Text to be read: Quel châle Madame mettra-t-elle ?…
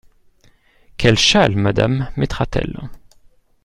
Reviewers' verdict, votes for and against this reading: accepted, 2, 0